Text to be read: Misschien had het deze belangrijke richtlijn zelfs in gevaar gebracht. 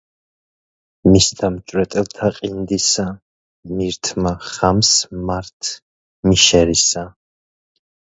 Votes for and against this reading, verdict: 0, 2, rejected